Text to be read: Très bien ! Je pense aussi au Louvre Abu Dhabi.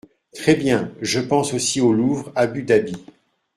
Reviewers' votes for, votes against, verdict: 2, 1, accepted